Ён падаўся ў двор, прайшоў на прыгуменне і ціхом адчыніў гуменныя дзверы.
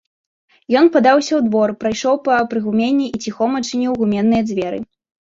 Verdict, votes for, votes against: rejected, 1, 2